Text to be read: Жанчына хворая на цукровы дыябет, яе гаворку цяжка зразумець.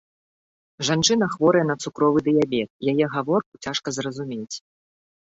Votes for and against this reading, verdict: 1, 2, rejected